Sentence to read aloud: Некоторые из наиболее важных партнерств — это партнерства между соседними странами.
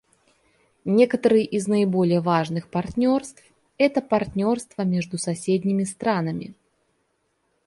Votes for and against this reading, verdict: 2, 0, accepted